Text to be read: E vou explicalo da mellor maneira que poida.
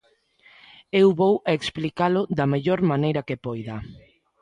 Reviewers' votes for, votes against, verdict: 0, 2, rejected